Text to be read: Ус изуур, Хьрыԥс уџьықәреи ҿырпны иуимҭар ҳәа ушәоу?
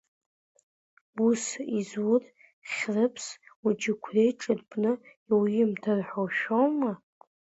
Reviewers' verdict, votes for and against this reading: accepted, 2, 0